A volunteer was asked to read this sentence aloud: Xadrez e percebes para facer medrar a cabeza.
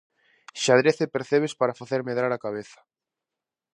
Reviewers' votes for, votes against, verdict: 2, 0, accepted